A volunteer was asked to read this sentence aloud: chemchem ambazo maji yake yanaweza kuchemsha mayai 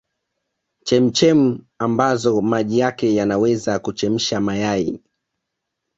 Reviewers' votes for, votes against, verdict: 2, 0, accepted